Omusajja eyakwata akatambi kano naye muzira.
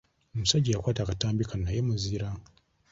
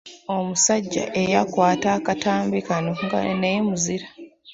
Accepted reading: first